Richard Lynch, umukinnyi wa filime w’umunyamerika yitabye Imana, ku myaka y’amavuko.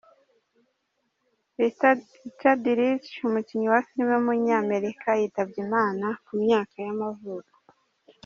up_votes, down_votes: 0, 2